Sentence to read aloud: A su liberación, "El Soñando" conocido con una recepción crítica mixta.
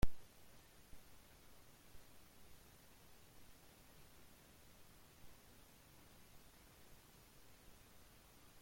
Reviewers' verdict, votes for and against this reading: rejected, 0, 2